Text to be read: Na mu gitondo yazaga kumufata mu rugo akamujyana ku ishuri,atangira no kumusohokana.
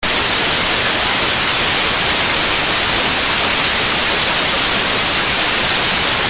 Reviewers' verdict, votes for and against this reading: rejected, 0, 2